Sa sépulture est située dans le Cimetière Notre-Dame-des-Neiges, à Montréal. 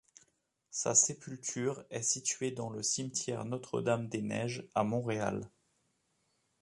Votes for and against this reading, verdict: 2, 0, accepted